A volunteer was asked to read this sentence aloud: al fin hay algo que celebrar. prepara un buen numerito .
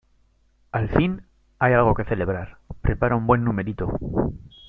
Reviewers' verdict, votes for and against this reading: accepted, 2, 0